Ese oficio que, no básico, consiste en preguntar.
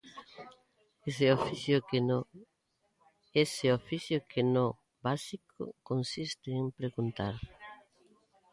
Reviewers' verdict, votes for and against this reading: rejected, 0, 3